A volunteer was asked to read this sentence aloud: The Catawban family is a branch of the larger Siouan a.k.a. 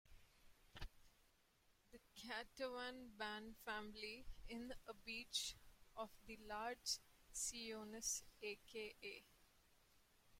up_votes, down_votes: 0, 2